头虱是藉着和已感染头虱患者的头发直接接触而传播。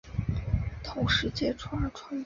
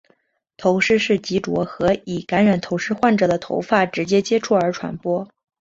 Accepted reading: second